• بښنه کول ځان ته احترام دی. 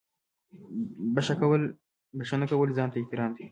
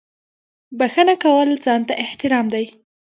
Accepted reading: second